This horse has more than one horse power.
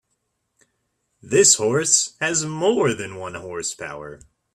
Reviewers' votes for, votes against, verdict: 2, 0, accepted